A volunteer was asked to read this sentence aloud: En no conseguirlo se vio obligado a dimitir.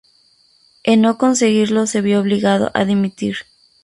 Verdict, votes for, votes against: accepted, 2, 0